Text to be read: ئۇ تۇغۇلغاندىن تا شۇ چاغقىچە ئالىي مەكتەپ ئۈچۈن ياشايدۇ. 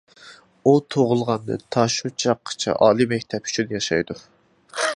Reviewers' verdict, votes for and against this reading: accepted, 2, 1